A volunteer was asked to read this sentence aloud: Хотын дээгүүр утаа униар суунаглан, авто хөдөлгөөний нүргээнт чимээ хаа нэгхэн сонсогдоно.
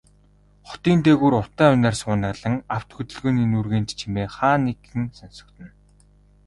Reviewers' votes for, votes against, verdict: 2, 0, accepted